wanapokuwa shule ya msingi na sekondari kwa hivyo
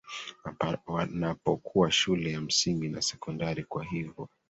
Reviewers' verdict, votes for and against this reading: rejected, 1, 2